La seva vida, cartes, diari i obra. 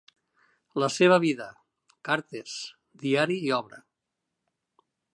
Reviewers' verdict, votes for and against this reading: accepted, 3, 0